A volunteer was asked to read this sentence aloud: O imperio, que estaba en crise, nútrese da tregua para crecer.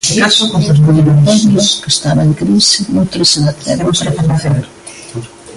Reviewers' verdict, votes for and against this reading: rejected, 0, 2